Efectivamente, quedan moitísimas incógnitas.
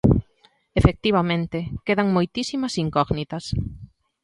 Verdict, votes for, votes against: accepted, 2, 0